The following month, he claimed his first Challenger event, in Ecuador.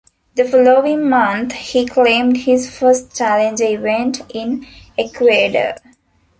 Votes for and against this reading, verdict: 0, 2, rejected